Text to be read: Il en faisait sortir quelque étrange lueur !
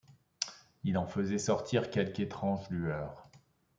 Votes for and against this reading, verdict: 2, 0, accepted